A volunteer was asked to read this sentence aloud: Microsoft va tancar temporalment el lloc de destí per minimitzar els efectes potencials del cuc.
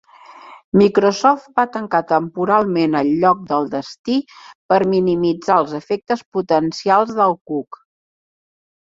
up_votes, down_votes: 0, 2